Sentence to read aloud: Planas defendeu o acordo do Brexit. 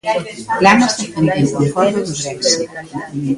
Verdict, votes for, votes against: rejected, 0, 2